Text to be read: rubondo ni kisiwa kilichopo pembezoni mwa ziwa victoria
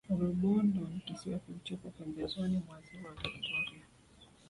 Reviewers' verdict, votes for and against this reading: accepted, 2, 1